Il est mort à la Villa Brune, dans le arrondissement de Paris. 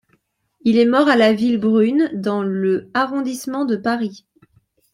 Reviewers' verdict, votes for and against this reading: rejected, 1, 2